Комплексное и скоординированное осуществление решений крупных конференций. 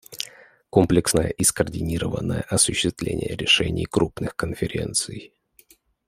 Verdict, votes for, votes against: accepted, 2, 0